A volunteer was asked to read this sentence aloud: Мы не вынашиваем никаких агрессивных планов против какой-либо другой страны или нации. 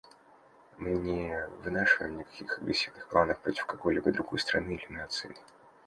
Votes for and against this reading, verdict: 1, 2, rejected